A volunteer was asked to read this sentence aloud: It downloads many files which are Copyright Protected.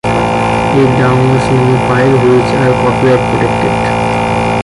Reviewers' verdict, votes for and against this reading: rejected, 0, 2